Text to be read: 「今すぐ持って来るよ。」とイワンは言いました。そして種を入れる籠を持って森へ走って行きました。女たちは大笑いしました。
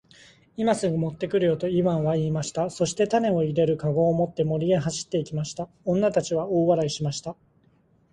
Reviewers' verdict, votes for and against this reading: accepted, 5, 0